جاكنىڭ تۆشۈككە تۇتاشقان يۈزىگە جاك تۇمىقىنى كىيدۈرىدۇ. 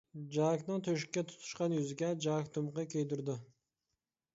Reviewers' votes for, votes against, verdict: 1, 2, rejected